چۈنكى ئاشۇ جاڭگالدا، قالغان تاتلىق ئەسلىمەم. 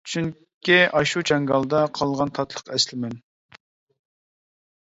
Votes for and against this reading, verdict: 1, 2, rejected